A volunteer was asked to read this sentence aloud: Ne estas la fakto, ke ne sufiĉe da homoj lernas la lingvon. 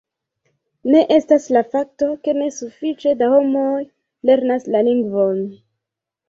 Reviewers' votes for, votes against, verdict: 2, 1, accepted